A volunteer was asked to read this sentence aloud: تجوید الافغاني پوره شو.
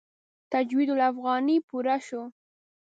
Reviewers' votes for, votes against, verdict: 2, 0, accepted